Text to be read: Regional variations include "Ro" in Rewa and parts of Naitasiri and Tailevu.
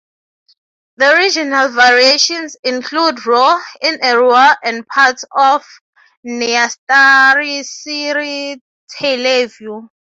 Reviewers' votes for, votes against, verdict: 3, 3, rejected